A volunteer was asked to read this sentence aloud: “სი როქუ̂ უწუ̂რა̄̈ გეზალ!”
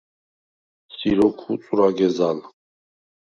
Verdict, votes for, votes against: rejected, 0, 4